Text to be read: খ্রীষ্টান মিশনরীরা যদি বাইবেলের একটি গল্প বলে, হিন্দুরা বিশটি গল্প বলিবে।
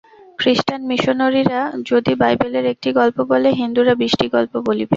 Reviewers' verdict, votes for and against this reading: accepted, 2, 0